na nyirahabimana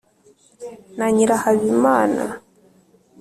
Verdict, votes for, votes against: accepted, 3, 0